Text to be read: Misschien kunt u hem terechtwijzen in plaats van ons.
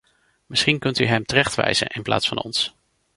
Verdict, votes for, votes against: accepted, 2, 0